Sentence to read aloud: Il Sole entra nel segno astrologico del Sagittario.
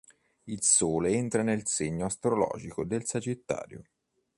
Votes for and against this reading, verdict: 3, 0, accepted